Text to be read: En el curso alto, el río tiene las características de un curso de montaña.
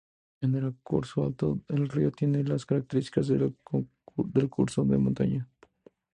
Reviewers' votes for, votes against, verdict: 2, 0, accepted